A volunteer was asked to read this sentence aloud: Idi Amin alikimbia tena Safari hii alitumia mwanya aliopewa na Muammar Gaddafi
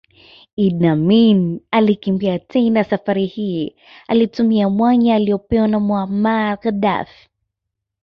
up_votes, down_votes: 2, 0